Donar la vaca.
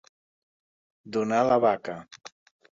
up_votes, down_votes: 2, 0